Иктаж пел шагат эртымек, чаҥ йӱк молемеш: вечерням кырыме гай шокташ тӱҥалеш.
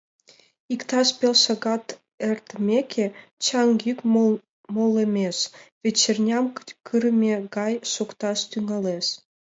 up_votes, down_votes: 0, 2